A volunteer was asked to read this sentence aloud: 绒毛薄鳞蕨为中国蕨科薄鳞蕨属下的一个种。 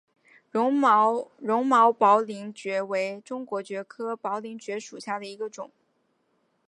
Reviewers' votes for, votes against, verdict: 3, 1, accepted